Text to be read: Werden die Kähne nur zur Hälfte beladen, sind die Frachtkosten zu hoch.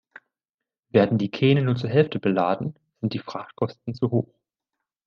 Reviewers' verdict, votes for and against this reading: accepted, 2, 0